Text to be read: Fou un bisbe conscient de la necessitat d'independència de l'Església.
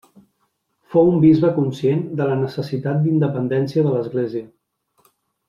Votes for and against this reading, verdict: 3, 0, accepted